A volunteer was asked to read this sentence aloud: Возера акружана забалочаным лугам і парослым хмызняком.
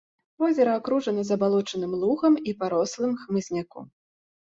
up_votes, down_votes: 4, 0